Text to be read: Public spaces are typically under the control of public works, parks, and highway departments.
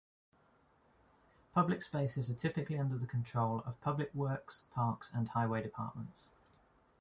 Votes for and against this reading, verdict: 2, 0, accepted